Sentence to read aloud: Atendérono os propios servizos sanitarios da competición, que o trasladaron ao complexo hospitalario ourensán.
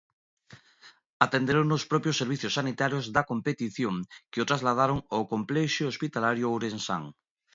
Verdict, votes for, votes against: rejected, 0, 2